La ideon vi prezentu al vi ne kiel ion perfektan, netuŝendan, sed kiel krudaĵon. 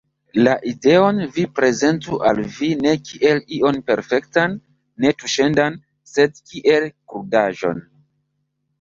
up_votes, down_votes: 1, 2